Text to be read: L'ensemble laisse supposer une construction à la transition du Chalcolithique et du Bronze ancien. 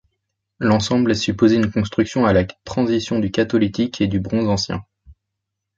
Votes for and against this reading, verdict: 0, 2, rejected